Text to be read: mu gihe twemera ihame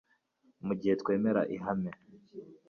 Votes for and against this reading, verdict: 2, 0, accepted